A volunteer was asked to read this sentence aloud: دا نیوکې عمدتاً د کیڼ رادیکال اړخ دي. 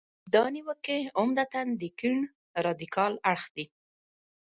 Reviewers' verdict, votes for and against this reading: accepted, 2, 0